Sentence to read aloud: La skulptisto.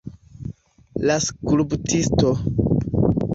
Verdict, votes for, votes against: accepted, 2, 0